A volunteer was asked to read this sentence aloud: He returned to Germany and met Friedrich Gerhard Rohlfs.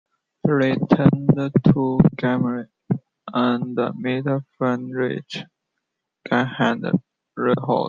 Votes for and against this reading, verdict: 0, 2, rejected